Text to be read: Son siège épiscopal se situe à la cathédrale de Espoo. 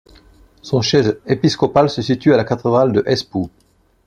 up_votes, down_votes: 1, 2